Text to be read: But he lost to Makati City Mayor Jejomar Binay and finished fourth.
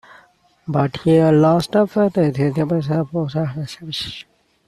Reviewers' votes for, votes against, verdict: 0, 2, rejected